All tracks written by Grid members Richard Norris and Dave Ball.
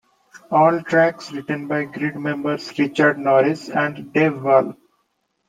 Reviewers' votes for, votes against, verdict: 2, 0, accepted